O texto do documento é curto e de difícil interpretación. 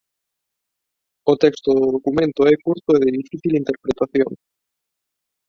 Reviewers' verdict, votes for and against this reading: rejected, 0, 2